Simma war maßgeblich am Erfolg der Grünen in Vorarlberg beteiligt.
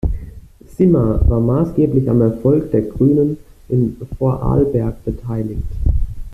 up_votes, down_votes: 2, 0